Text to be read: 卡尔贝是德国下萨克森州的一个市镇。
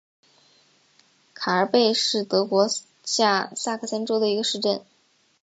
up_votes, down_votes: 1, 2